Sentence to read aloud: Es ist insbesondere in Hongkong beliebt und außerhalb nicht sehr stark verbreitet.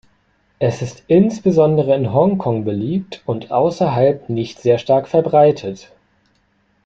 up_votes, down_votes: 2, 0